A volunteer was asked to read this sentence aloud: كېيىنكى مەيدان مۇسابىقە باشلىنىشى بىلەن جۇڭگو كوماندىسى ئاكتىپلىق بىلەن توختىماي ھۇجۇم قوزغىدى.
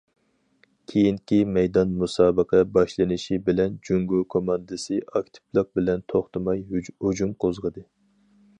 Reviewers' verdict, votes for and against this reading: accepted, 4, 2